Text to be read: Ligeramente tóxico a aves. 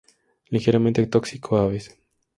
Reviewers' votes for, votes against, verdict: 2, 0, accepted